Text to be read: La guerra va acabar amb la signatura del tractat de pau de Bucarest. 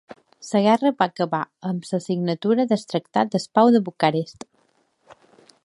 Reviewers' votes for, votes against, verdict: 0, 2, rejected